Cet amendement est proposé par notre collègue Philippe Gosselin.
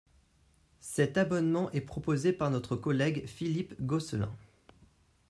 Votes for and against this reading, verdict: 1, 2, rejected